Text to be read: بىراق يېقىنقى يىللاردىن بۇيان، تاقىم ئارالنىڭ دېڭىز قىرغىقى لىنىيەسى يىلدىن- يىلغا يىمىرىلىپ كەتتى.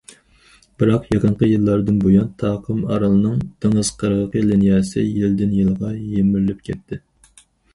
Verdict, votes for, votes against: accepted, 4, 0